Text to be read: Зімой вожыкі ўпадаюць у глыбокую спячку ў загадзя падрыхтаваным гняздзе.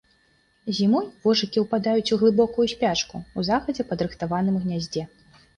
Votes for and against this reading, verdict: 2, 0, accepted